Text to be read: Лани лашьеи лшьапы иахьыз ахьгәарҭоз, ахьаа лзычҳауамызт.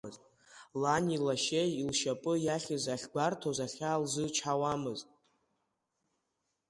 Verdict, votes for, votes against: accepted, 3, 0